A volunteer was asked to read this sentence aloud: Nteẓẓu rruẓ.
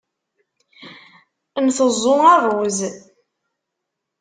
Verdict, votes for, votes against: accepted, 2, 1